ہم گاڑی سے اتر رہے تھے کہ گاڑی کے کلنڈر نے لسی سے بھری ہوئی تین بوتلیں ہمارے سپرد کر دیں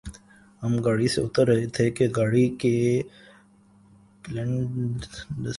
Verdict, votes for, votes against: rejected, 0, 3